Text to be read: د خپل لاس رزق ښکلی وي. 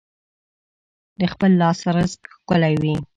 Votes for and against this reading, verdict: 2, 0, accepted